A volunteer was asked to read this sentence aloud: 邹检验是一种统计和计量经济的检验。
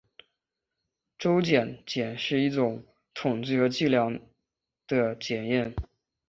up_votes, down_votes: 4, 5